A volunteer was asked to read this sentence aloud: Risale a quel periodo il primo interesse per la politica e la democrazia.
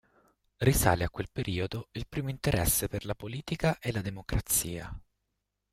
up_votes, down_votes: 2, 1